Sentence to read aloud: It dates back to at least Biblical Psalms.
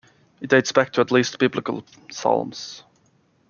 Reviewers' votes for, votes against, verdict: 1, 2, rejected